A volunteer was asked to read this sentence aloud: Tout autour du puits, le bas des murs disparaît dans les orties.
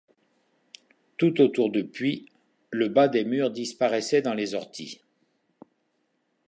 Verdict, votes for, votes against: rejected, 1, 2